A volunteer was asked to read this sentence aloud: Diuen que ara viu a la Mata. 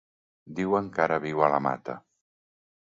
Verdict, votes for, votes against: accepted, 2, 0